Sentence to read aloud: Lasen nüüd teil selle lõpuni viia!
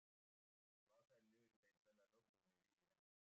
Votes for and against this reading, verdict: 0, 2, rejected